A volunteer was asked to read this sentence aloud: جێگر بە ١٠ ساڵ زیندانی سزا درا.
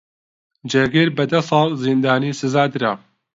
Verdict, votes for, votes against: rejected, 0, 2